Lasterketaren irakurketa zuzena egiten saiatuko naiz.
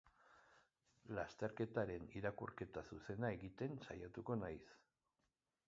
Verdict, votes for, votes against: accepted, 2, 0